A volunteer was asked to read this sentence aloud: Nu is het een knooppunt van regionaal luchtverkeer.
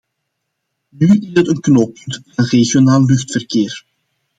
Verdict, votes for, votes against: rejected, 1, 2